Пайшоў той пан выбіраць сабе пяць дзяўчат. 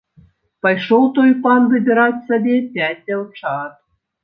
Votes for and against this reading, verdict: 2, 0, accepted